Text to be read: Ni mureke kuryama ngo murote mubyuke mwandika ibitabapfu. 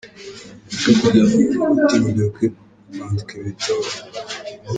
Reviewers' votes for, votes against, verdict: 0, 2, rejected